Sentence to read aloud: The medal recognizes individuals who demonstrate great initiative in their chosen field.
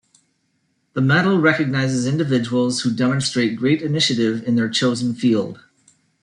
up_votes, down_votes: 2, 0